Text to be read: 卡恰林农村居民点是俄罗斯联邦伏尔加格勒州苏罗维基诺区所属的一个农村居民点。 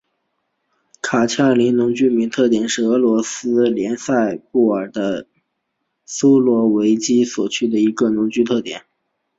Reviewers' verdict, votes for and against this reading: accepted, 4, 1